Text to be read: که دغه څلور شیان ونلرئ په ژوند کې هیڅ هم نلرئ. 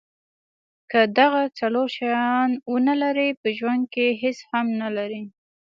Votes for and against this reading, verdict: 2, 0, accepted